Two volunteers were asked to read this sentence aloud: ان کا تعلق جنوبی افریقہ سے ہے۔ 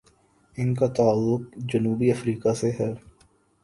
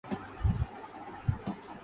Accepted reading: first